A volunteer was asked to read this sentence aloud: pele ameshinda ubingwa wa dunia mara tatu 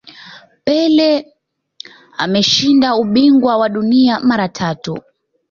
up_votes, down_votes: 2, 0